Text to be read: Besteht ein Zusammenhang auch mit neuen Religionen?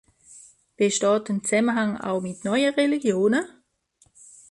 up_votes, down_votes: 2, 0